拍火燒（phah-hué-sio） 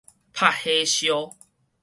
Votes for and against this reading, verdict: 2, 2, rejected